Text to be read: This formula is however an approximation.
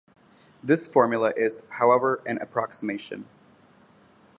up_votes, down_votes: 2, 0